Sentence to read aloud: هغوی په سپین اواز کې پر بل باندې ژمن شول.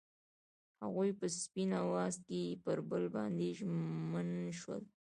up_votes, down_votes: 2, 0